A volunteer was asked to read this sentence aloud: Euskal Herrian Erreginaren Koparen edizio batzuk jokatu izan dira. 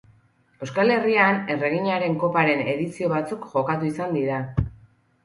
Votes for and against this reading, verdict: 4, 0, accepted